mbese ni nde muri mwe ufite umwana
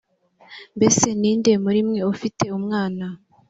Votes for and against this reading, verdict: 2, 0, accepted